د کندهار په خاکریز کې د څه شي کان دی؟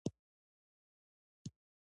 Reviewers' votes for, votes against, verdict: 2, 0, accepted